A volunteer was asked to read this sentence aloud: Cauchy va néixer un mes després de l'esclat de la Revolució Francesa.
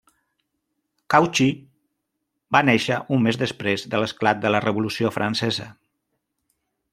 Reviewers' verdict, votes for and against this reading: accepted, 2, 1